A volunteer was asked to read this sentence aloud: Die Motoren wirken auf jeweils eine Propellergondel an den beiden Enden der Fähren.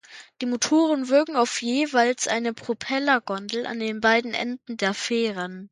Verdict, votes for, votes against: accepted, 2, 0